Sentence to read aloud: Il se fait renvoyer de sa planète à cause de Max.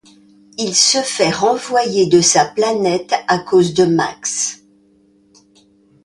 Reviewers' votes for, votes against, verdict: 2, 0, accepted